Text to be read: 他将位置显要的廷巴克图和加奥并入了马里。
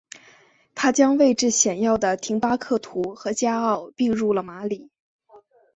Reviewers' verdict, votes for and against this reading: accepted, 2, 0